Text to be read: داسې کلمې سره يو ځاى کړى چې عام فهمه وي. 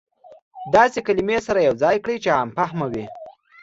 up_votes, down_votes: 2, 0